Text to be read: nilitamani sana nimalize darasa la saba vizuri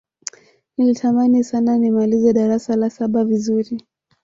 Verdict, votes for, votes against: accepted, 3, 0